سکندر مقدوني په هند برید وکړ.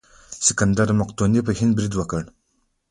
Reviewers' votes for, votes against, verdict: 2, 0, accepted